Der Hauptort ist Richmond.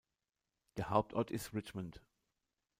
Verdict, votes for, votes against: accepted, 2, 0